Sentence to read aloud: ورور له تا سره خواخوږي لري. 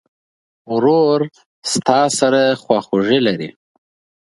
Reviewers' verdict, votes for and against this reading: accepted, 2, 0